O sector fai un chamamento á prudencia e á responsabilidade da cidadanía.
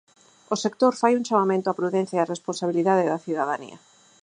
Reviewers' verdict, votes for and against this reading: accepted, 4, 0